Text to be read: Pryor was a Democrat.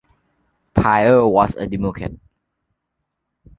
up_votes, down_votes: 0, 3